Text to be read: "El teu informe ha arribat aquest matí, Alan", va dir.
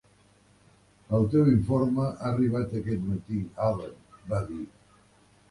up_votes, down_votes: 2, 0